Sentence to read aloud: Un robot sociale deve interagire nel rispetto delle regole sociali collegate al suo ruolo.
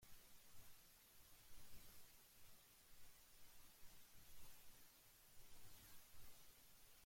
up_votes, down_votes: 0, 2